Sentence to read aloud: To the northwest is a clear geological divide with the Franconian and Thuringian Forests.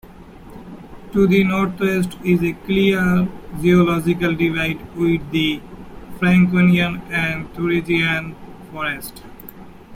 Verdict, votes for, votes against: rejected, 0, 2